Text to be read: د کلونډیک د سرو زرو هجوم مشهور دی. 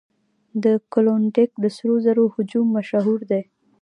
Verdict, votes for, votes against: rejected, 0, 2